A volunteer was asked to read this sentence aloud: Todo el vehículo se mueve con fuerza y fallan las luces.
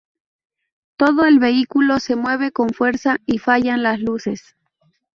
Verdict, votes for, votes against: rejected, 0, 2